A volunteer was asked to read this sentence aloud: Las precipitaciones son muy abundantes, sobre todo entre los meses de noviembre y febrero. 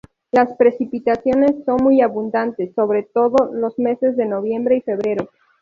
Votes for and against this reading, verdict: 0, 2, rejected